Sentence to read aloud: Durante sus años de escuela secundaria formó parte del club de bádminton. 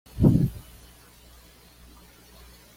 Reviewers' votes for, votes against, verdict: 1, 2, rejected